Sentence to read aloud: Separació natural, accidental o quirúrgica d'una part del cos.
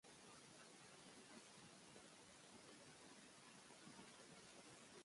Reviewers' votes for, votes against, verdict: 1, 5, rejected